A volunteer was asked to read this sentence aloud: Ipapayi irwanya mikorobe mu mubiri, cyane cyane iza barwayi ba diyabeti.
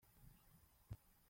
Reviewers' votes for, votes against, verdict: 0, 2, rejected